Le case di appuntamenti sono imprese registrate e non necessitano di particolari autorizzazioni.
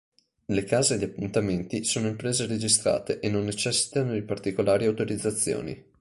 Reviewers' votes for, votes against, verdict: 2, 0, accepted